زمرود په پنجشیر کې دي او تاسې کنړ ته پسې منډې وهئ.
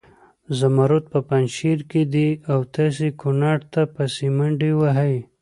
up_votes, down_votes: 2, 0